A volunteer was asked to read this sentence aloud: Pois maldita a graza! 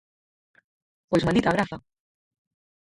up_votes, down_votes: 0, 4